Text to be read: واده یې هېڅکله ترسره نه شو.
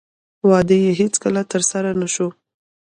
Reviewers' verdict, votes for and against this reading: rejected, 0, 2